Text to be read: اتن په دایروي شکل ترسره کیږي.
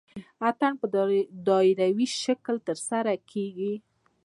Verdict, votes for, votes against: rejected, 1, 2